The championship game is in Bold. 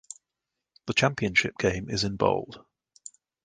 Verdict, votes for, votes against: accepted, 2, 0